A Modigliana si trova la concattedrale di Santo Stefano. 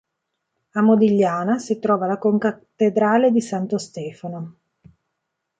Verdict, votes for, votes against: rejected, 1, 2